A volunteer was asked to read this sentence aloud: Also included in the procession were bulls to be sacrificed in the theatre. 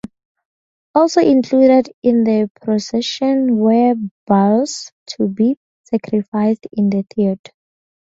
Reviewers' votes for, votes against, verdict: 2, 0, accepted